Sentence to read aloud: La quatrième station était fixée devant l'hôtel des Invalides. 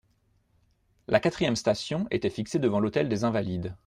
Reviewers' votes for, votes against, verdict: 2, 0, accepted